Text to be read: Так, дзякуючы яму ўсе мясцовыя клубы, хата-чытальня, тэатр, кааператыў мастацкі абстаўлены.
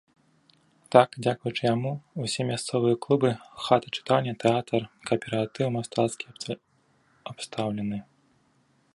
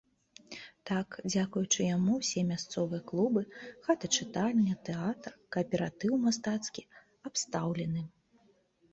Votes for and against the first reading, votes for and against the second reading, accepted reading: 0, 2, 4, 0, second